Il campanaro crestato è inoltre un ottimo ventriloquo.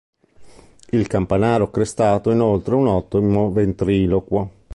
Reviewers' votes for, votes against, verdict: 0, 2, rejected